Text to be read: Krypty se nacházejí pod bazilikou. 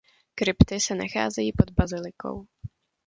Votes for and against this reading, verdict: 2, 0, accepted